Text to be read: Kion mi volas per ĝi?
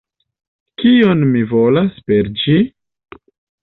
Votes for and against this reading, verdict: 2, 0, accepted